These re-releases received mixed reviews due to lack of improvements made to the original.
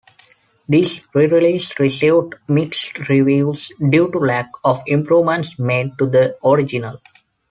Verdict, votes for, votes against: accepted, 2, 0